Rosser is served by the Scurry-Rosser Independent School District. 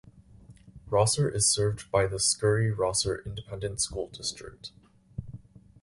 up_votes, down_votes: 4, 0